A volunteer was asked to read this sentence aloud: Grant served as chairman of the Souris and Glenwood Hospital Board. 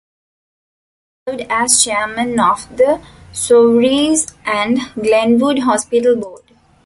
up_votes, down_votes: 1, 2